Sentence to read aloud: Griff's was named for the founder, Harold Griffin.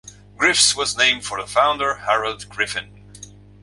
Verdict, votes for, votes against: accepted, 2, 0